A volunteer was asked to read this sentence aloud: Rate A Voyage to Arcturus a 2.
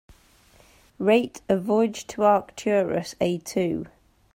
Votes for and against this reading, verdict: 0, 2, rejected